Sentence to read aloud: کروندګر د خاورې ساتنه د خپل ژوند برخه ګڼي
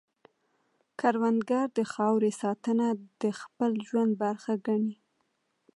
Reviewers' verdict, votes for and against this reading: accepted, 2, 0